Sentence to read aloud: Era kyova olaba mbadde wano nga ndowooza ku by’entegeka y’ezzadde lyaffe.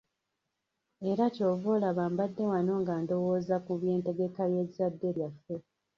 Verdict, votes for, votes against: rejected, 1, 2